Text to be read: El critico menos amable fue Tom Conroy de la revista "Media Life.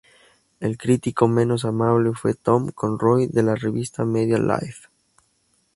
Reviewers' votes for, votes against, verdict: 2, 0, accepted